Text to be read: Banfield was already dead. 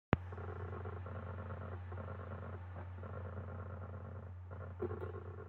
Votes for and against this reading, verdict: 0, 2, rejected